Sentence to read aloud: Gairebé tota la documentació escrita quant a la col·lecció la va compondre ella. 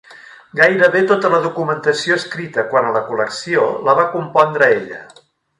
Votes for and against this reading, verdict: 1, 2, rejected